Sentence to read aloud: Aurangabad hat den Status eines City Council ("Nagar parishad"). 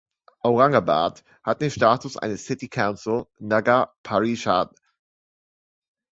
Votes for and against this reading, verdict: 2, 0, accepted